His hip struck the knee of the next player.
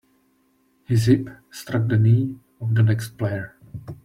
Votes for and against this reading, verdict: 2, 0, accepted